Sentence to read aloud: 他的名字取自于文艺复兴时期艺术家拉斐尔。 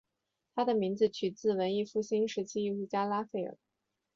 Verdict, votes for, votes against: accepted, 2, 0